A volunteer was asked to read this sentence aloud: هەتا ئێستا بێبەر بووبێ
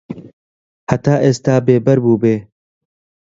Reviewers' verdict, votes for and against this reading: accepted, 2, 0